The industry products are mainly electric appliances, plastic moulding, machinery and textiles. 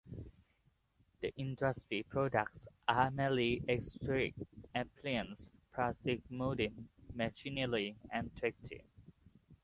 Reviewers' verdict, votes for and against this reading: accepted, 2, 0